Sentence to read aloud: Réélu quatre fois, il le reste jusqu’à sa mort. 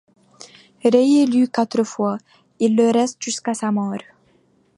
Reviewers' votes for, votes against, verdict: 2, 1, accepted